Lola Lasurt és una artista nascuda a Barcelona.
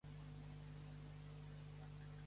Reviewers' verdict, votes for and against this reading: rejected, 0, 2